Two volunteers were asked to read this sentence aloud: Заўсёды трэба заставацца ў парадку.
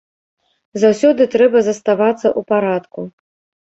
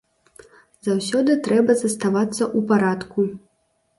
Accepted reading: second